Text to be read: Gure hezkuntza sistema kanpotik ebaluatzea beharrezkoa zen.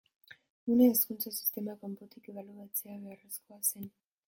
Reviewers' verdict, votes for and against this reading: rejected, 1, 2